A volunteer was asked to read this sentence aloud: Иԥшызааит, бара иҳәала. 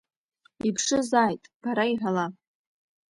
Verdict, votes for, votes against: accepted, 2, 0